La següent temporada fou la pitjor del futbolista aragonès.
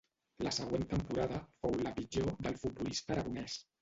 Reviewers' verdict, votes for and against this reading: rejected, 1, 2